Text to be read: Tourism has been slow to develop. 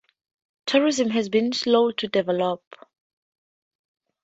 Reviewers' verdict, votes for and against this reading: accepted, 4, 0